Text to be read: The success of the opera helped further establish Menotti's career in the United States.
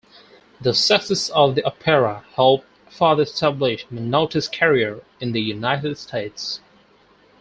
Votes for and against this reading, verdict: 2, 4, rejected